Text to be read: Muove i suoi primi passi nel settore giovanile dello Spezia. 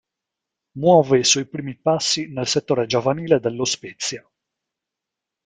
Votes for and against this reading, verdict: 2, 1, accepted